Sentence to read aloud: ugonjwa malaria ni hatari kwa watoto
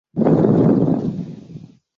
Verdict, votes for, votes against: rejected, 0, 2